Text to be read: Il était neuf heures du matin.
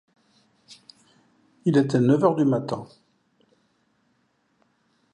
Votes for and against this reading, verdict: 2, 0, accepted